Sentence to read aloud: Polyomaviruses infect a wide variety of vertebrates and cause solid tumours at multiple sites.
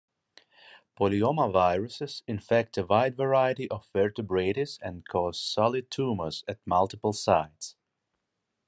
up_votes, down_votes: 1, 2